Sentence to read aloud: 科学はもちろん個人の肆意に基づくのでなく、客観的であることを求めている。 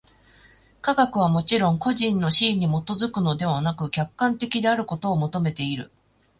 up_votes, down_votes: 2, 0